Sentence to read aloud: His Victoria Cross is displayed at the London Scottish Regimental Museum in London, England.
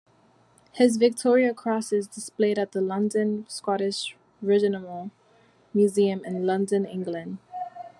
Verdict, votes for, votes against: rejected, 0, 2